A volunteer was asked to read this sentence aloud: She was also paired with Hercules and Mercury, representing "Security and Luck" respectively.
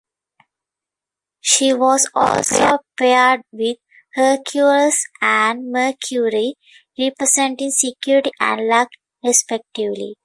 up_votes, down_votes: 0, 2